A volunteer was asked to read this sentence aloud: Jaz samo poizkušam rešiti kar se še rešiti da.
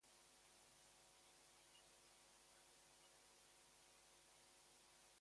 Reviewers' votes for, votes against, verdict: 0, 4, rejected